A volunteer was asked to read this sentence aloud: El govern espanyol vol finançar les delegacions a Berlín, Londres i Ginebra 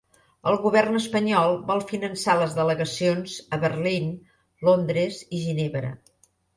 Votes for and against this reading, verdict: 1, 2, rejected